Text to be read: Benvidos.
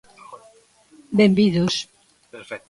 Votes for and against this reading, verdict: 0, 2, rejected